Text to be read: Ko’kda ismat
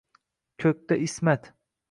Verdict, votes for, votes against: rejected, 1, 2